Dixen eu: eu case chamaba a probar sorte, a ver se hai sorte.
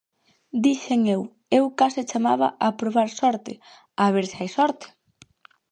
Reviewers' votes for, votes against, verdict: 2, 2, rejected